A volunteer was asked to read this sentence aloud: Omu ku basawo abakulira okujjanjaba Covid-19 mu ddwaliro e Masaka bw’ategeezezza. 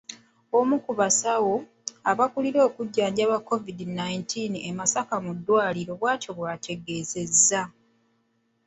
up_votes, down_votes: 0, 2